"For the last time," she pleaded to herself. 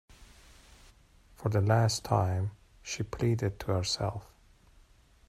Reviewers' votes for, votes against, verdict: 2, 0, accepted